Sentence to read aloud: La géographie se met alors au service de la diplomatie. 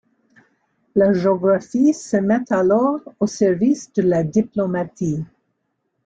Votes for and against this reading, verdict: 2, 1, accepted